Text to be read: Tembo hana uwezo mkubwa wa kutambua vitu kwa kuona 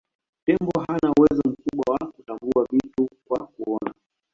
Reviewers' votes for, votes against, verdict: 0, 2, rejected